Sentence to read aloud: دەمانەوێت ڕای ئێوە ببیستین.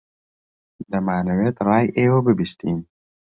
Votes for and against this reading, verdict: 2, 0, accepted